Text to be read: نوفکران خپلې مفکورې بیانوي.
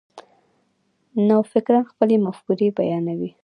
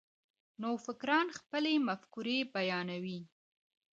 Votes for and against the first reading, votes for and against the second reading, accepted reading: 2, 1, 0, 2, first